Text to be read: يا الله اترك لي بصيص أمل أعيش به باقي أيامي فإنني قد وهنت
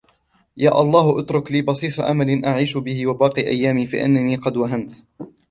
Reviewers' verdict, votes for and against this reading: rejected, 1, 2